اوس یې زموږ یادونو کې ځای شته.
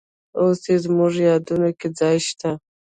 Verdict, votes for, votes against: rejected, 0, 2